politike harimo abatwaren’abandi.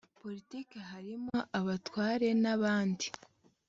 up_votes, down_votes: 2, 0